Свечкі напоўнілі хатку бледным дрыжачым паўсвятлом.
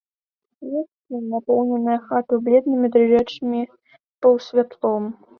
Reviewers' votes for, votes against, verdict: 1, 2, rejected